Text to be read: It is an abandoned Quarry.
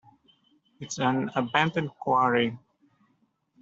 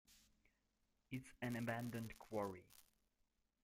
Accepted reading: first